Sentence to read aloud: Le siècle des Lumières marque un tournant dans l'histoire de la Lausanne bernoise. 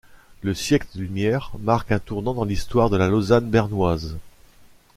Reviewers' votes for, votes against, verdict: 0, 2, rejected